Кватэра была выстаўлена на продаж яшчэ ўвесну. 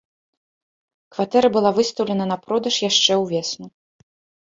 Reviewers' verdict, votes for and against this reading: accepted, 2, 0